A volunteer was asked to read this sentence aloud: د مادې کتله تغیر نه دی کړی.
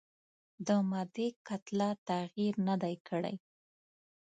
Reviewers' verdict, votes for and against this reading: accepted, 2, 0